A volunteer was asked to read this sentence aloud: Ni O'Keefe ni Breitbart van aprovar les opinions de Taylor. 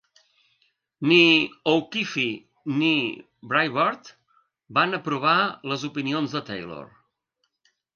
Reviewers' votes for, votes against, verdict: 2, 0, accepted